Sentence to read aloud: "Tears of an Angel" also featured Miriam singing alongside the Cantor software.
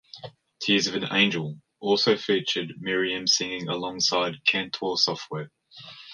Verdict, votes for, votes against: rejected, 1, 2